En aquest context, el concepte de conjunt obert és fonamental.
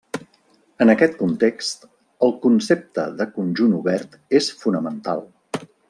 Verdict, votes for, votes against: accepted, 3, 0